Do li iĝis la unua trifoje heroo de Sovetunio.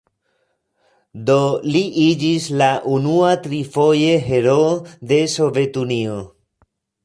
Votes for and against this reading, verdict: 1, 2, rejected